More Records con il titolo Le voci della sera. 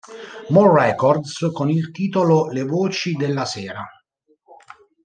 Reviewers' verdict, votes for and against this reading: accepted, 2, 0